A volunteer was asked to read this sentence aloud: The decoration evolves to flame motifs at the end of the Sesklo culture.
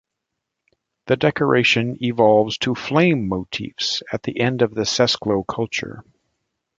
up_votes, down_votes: 2, 0